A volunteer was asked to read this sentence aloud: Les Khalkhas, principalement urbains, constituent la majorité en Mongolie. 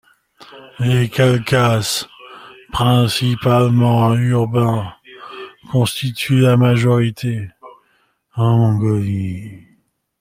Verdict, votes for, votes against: rejected, 1, 2